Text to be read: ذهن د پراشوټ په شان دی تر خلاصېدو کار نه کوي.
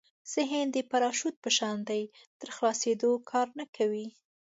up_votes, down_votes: 2, 0